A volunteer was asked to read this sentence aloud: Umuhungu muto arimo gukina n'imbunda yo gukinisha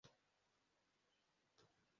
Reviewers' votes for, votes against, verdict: 0, 2, rejected